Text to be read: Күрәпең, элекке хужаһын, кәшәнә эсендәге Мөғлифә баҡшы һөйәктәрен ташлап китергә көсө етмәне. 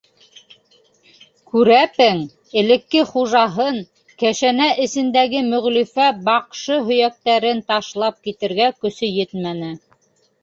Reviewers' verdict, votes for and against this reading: accepted, 3, 0